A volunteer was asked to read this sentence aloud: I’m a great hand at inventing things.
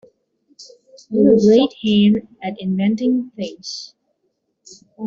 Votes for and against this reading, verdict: 0, 2, rejected